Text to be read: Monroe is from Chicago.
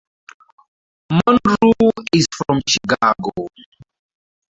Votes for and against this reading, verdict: 2, 2, rejected